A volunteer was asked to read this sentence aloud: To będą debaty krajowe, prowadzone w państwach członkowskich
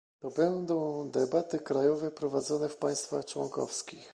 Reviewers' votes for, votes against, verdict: 2, 0, accepted